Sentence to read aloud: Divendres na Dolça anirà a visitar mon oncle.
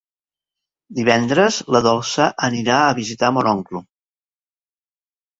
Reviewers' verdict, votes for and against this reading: rejected, 0, 2